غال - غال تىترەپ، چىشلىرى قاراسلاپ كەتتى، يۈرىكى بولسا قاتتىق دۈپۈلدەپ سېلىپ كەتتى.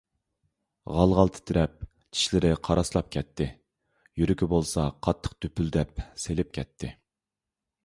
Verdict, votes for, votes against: accepted, 2, 0